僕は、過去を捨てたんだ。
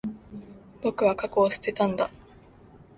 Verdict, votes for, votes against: accepted, 2, 0